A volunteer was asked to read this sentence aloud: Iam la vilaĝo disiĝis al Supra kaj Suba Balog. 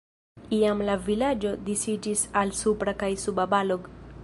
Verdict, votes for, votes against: accepted, 2, 0